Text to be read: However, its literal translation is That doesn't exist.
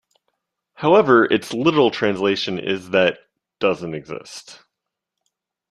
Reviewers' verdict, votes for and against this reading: accepted, 2, 0